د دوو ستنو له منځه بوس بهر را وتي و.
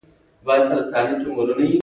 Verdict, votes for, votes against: rejected, 0, 2